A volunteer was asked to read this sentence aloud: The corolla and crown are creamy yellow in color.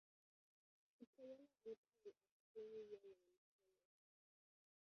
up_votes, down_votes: 0, 2